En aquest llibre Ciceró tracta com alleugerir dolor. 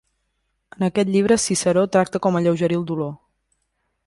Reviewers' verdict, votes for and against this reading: accepted, 2, 0